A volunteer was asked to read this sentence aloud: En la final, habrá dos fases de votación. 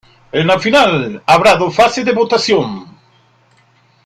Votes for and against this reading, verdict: 1, 2, rejected